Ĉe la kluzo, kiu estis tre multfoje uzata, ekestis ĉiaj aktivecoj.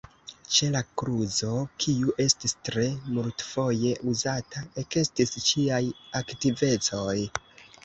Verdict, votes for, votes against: accepted, 2, 1